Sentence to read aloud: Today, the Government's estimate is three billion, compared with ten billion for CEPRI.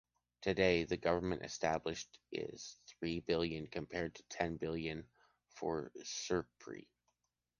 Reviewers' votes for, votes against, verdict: 0, 2, rejected